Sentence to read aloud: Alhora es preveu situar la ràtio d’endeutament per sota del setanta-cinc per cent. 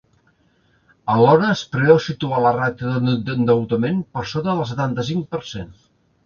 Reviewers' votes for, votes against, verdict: 0, 2, rejected